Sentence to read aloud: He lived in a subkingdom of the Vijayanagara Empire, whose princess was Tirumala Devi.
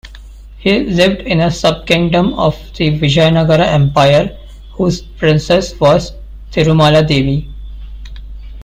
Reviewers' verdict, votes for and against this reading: rejected, 1, 2